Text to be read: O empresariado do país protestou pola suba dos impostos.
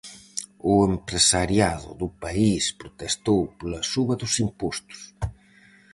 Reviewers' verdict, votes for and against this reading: accepted, 4, 0